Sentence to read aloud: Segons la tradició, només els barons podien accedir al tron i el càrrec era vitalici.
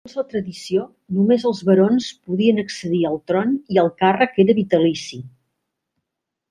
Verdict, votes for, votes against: rejected, 0, 2